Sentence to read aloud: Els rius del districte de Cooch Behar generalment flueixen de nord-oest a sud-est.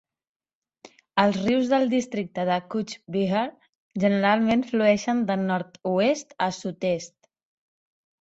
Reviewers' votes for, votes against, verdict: 2, 0, accepted